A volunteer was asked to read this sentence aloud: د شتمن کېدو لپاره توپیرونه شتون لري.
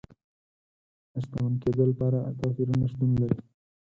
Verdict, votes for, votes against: rejected, 0, 4